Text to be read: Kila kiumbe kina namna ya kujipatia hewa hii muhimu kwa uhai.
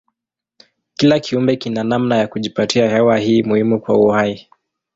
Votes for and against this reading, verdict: 2, 0, accepted